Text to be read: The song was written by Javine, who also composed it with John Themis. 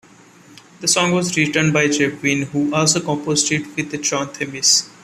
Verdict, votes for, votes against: accepted, 2, 1